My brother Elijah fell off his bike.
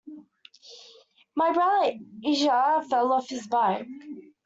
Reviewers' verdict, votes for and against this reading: rejected, 0, 2